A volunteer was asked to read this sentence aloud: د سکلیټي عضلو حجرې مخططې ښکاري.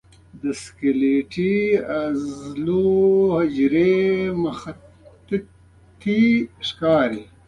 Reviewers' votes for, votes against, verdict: 1, 2, rejected